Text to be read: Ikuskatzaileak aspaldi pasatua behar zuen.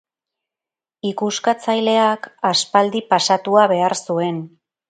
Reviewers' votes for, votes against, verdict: 2, 0, accepted